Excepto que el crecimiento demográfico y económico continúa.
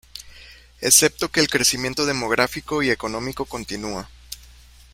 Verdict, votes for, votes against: rejected, 0, 2